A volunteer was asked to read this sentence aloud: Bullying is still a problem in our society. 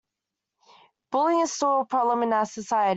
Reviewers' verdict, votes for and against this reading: accepted, 2, 0